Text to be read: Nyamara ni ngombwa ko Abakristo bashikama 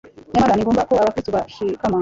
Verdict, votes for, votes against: rejected, 0, 2